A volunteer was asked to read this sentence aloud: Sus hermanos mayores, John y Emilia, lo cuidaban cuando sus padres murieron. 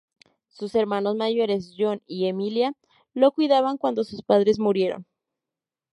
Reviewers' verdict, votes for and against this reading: accepted, 10, 0